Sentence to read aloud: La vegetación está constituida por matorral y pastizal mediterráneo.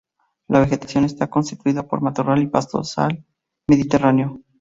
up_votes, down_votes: 0, 4